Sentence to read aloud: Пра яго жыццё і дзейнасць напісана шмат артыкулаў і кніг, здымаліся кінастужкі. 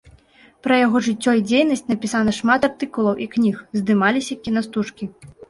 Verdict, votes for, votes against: accepted, 3, 1